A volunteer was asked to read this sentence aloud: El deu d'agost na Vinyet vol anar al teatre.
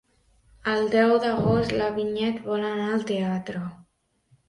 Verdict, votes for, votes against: rejected, 1, 2